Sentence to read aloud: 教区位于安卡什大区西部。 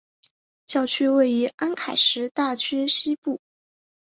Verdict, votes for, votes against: rejected, 1, 2